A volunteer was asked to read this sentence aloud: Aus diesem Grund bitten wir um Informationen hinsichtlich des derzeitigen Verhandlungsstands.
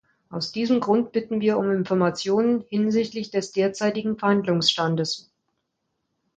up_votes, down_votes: 1, 2